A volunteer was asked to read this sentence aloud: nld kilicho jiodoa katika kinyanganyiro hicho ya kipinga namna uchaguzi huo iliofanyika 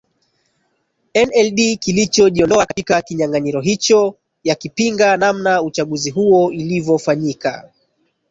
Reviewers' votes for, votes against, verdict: 1, 2, rejected